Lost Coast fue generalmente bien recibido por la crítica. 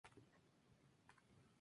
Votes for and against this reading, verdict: 0, 4, rejected